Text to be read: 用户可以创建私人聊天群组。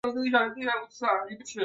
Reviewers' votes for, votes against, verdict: 0, 2, rejected